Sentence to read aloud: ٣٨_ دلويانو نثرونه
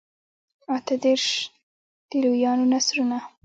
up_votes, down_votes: 0, 2